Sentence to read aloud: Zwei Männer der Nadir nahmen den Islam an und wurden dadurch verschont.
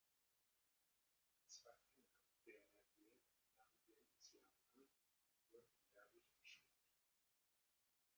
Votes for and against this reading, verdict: 0, 2, rejected